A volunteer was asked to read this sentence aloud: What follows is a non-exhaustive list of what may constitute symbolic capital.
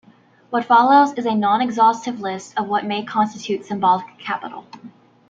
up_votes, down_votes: 2, 1